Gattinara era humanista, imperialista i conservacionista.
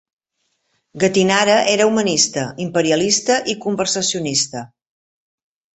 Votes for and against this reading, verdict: 0, 2, rejected